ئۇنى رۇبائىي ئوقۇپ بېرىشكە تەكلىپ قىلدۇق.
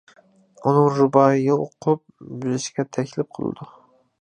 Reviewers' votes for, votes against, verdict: 0, 2, rejected